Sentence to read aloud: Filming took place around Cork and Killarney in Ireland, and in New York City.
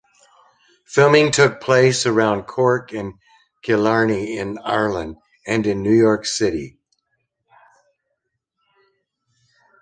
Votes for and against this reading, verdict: 2, 0, accepted